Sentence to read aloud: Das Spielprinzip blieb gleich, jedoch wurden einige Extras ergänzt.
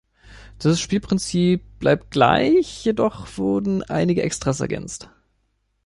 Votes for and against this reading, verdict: 0, 2, rejected